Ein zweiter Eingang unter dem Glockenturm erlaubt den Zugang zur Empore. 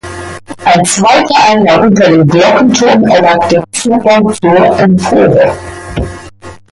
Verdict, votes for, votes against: rejected, 0, 2